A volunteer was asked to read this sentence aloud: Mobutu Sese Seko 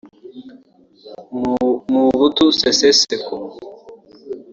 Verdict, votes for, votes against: rejected, 1, 2